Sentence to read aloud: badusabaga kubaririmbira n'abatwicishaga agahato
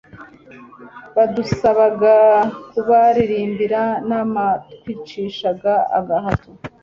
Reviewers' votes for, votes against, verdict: 2, 0, accepted